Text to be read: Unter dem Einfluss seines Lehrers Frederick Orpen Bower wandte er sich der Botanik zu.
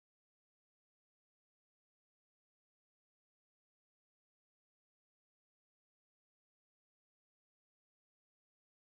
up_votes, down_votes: 0, 4